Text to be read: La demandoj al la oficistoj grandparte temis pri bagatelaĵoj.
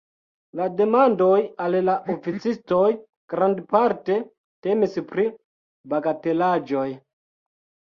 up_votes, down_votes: 1, 2